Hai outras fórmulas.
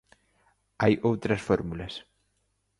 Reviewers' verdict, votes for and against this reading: accepted, 2, 0